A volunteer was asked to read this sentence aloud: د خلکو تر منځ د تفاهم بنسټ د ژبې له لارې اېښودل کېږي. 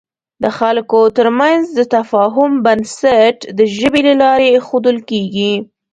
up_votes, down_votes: 1, 2